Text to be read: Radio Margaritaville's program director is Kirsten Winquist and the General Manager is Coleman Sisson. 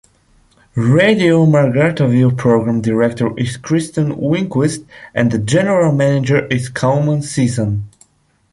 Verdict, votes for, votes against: accepted, 2, 1